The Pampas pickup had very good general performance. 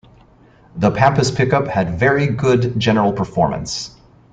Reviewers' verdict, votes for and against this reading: accepted, 2, 0